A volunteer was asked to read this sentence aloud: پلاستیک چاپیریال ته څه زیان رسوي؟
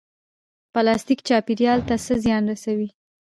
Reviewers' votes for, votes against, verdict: 2, 1, accepted